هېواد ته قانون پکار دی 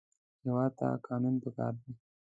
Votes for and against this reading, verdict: 2, 0, accepted